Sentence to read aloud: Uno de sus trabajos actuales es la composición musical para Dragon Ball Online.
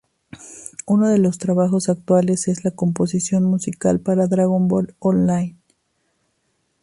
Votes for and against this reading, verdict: 1, 2, rejected